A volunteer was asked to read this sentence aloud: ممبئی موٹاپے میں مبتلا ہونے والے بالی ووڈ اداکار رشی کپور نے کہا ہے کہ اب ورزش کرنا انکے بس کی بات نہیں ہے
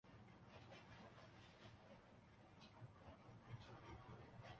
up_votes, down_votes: 0, 2